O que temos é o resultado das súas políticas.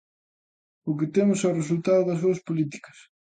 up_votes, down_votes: 2, 0